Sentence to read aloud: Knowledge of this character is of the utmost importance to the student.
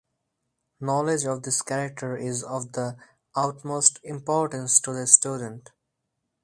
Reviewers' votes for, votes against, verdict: 4, 0, accepted